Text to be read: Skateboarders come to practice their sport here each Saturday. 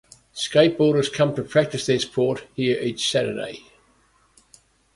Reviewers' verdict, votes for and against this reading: accepted, 2, 0